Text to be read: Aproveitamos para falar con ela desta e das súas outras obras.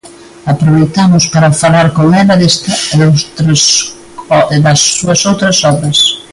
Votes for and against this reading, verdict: 0, 2, rejected